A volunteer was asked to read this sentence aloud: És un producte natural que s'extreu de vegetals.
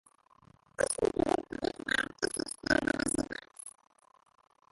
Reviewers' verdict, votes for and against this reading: rejected, 0, 2